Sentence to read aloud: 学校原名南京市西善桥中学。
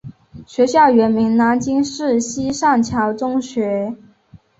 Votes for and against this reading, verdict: 3, 0, accepted